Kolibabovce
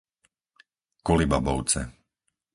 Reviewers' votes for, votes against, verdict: 4, 0, accepted